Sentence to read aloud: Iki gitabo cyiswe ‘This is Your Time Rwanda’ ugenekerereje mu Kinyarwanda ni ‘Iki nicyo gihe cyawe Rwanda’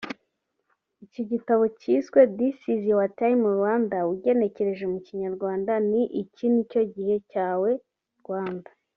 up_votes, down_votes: 2, 0